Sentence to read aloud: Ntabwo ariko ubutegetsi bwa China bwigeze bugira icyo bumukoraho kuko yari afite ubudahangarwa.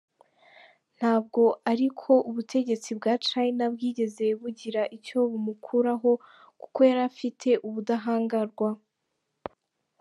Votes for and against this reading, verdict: 1, 2, rejected